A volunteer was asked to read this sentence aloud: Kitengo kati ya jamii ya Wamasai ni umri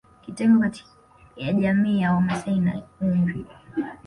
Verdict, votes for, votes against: rejected, 1, 2